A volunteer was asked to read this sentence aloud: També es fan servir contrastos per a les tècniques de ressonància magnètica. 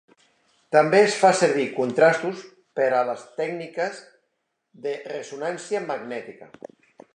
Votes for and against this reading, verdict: 2, 0, accepted